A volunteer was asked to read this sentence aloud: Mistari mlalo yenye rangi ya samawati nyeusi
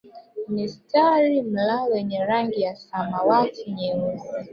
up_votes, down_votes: 1, 2